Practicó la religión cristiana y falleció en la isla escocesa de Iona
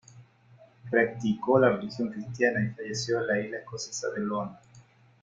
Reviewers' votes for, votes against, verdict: 1, 2, rejected